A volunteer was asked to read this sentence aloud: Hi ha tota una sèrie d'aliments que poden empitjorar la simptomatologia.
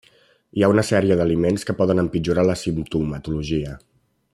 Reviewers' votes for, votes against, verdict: 0, 2, rejected